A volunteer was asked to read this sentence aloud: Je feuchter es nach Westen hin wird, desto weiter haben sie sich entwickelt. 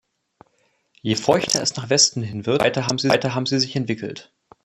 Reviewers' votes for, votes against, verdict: 0, 2, rejected